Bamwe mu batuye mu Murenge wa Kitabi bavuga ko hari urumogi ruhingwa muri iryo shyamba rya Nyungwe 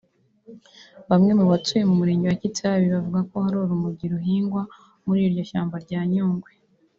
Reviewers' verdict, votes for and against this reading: rejected, 0, 2